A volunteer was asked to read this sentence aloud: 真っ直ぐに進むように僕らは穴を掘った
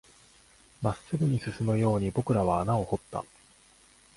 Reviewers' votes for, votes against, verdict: 2, 1, accepted